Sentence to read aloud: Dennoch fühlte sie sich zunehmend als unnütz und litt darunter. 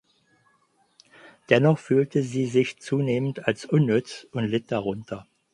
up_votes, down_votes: 4, 0